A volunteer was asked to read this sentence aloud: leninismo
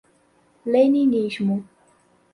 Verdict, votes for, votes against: accepted, 4, 0